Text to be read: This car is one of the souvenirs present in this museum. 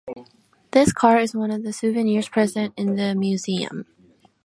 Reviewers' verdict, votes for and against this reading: rejected, 0, 2